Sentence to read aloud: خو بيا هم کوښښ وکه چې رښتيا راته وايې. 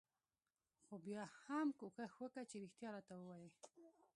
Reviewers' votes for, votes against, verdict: 1, 2, rejected